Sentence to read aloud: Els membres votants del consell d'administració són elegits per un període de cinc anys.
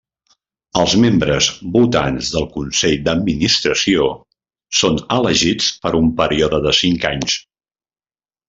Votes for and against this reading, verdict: 0, 2, rejected